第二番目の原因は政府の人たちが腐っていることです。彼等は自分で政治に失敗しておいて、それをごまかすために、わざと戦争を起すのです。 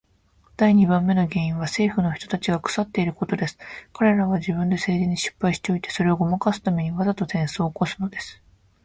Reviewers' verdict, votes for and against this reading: accepted, 2, 0